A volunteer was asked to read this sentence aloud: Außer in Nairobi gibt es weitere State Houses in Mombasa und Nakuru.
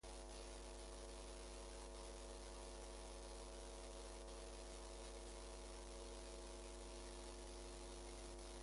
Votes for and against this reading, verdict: 0, 2, rejected